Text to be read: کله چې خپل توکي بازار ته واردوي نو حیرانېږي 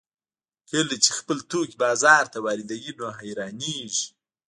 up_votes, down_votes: 2, 0